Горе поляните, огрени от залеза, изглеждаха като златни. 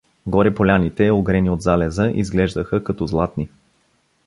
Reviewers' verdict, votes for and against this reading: accepted, 2, 0